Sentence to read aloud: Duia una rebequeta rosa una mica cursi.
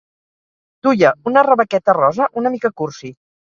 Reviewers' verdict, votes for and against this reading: accepted, 4, 0